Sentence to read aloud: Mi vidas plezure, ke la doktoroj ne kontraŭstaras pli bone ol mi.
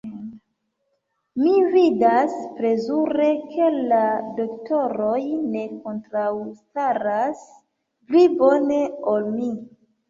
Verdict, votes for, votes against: accepted, 2, 1